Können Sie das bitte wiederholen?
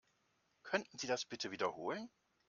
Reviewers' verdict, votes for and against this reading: rejected, 1, 2